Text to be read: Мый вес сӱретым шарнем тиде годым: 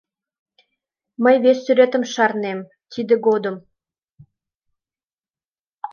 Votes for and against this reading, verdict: 2, 0, accepted